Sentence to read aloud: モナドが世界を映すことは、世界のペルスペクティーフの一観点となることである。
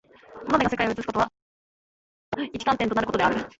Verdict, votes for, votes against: rejected, 0, 2